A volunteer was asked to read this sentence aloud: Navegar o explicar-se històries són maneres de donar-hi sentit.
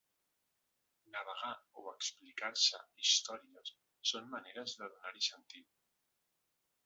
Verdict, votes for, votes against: accepted, 2, 1